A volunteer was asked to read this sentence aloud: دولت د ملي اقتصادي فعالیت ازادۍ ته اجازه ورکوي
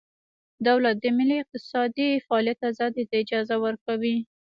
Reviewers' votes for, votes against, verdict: 1, 2, rejected